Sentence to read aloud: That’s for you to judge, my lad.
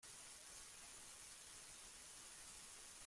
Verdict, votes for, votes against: rejected, 0, 2